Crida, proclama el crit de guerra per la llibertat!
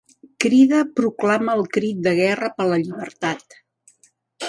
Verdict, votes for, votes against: accepted, 4, 1